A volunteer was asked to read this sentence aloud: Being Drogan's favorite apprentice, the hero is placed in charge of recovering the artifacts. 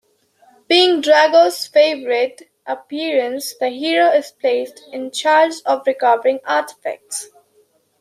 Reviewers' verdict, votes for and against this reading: accepted, 2, 0